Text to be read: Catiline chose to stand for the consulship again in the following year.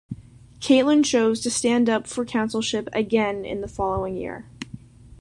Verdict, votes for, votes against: rejected, 0, 2